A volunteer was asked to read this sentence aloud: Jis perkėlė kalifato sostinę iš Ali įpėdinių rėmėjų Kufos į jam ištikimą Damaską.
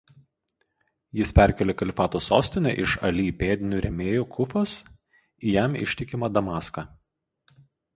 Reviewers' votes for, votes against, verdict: 0, 2, rejected